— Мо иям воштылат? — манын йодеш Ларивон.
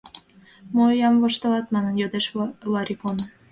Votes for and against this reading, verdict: 0, 2, rejected